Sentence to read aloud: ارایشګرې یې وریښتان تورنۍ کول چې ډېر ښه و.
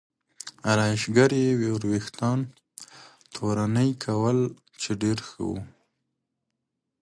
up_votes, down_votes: 2, 1